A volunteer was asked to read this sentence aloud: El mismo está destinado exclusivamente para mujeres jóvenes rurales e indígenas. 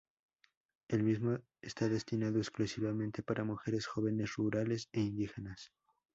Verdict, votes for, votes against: rejected, 0, 4